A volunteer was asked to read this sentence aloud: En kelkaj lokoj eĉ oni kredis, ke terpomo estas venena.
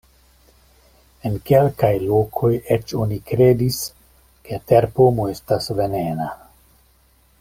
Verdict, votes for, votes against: accepted, 2, 0